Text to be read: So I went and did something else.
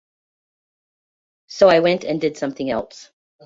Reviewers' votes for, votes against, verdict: 2, 0, accepted